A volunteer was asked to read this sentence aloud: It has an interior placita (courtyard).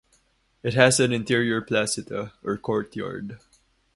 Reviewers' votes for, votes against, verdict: 2, 2, rejected